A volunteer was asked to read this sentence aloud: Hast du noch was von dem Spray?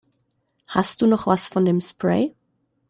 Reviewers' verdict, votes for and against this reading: accepted, 2, 0